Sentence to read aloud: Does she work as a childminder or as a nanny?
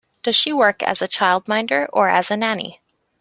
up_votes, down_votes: 2, 0